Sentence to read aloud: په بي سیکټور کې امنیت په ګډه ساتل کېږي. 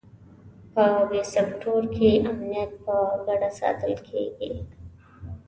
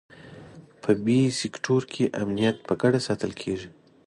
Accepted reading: second